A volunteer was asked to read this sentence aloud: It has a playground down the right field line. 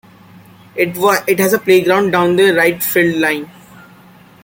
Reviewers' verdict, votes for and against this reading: rejected, 0, 2